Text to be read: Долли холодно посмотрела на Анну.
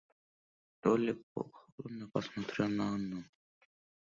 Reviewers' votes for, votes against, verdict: 1, 2, rejected